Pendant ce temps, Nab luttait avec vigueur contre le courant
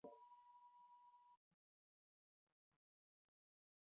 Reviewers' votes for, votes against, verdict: 0, 2, rejected